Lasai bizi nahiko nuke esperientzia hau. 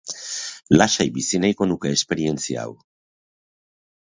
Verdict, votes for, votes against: accepted, 2, 0